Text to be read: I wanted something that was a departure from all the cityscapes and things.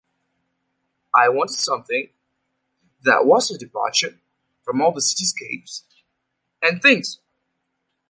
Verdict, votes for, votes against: accepted, 2, 0